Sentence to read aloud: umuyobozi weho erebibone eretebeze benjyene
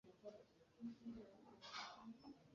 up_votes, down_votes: 1, 2